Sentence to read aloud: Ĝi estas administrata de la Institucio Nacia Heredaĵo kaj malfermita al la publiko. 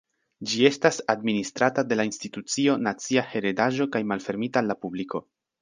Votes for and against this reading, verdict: 2, 1, accepted